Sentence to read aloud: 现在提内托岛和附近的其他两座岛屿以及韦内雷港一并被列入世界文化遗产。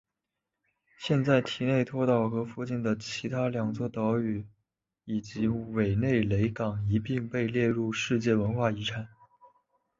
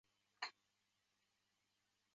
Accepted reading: first